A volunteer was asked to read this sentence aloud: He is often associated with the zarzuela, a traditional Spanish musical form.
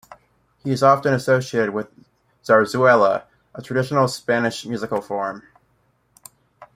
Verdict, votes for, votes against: rejected, 0, 2